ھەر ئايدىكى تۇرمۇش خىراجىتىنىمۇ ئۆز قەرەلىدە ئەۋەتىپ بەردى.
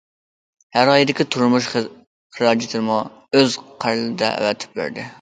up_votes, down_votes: 0, 2